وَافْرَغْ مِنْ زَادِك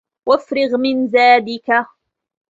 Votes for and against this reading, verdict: 2, 1, accepted